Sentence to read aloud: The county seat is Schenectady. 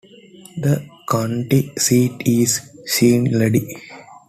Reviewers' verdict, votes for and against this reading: rejected, 0, 2